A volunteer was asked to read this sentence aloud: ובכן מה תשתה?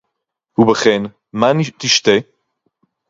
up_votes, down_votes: 0, 4